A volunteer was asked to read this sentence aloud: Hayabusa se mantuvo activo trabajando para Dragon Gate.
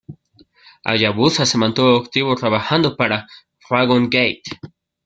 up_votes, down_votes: 1, 2